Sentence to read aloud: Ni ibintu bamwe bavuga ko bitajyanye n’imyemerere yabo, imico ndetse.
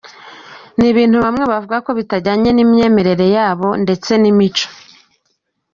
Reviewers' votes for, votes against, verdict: 2, 3, rejected